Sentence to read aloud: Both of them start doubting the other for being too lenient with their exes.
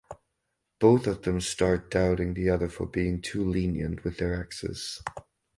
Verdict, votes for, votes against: accepted, 2, 0